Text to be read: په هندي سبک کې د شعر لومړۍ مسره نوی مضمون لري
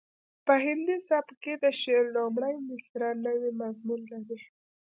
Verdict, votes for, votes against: rejected, 0, 2